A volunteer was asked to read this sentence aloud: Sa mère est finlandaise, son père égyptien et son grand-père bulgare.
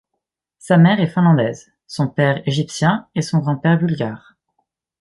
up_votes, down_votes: 2, 0